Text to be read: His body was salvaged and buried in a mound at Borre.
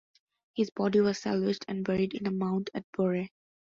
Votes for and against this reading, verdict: 2, 0, accepted